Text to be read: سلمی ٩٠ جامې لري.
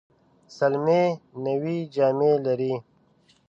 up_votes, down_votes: 0, 2